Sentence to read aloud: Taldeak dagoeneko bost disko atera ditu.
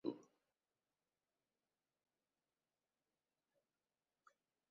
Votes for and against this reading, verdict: 0, 6, rejected